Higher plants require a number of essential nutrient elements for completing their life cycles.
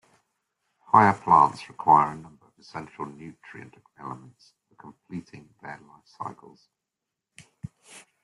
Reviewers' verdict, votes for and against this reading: accepted, 2, 1